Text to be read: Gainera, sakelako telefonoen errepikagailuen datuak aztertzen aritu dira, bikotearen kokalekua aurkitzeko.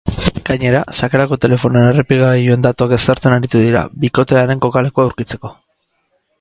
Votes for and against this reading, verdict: 0, 2, rejected